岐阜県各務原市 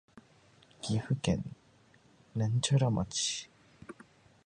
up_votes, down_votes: 1, 2